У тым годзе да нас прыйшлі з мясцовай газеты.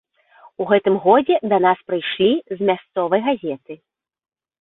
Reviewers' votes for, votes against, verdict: 0, 2, rejected